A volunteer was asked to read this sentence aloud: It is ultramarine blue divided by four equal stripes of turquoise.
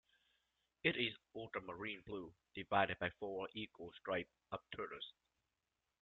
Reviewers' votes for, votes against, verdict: 2, 0, accepted